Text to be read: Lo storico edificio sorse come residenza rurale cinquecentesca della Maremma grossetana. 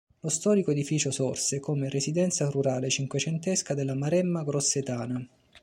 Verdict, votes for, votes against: accepted, 2, 0